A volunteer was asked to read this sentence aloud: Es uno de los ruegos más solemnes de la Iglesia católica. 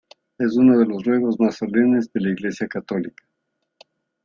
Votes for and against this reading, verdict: 2, 1, accepted